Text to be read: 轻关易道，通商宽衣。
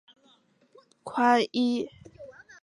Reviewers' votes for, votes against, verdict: 1, 3, rejected